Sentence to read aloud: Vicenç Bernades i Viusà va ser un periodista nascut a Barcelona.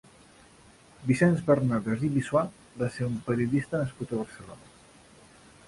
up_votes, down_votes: 1, 2